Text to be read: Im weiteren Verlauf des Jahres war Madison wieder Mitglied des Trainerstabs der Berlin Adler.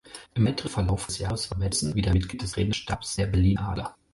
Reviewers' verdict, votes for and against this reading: rejected, 2, 4